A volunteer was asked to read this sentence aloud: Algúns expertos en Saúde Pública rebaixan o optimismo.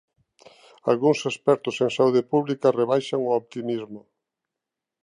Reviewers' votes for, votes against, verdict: 3, 0, accepted